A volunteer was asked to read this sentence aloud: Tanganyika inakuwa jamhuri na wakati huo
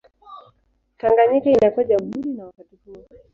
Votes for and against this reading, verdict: 1, 2, rejected